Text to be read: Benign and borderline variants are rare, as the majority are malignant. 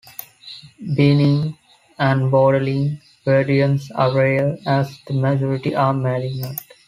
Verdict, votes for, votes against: rejected, 0, 2